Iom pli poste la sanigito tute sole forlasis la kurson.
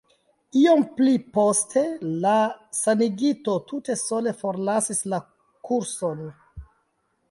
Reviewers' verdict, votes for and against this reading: accepted, 2, 1